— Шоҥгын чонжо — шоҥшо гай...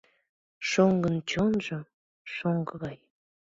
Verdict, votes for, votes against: accepted, 2, 1